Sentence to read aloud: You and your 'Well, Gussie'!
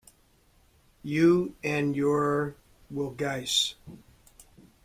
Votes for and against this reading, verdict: 1, 2, rejected